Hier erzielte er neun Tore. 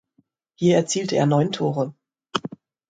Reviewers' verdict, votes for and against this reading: accepted, 2, 0